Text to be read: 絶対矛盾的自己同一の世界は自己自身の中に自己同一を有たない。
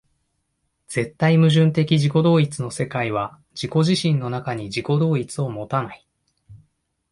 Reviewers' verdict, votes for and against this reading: accepted, 2, 0